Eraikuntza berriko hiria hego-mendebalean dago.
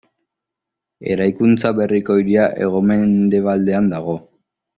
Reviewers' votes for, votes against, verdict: 1, 2, rejected